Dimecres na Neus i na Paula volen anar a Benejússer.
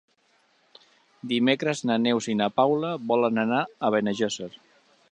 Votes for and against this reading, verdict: 1, 2, rejected